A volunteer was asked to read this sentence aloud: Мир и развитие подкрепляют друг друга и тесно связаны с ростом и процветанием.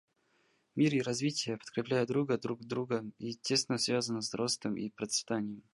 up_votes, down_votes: 0, 2